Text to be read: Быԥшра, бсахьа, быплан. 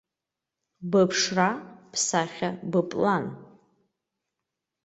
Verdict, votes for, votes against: accepted, 3, 0